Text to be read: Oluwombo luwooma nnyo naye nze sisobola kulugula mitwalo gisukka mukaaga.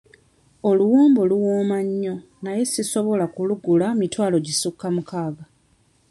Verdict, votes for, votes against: rejected, 1, 2